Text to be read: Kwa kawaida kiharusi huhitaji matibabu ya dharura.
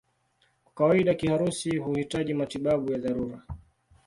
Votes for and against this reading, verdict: 2, 0, accepted